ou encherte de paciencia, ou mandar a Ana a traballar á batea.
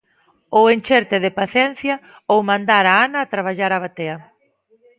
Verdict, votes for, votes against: rejected, 1, 2